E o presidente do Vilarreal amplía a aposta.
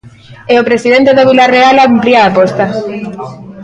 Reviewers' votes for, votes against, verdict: 2, 0, accepted